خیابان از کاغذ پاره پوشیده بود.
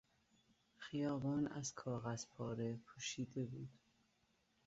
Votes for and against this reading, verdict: 2, 0, accepted